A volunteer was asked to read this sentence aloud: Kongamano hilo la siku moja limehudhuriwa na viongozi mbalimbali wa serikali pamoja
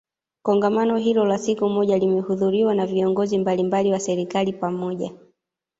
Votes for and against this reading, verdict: 1, 2, rejected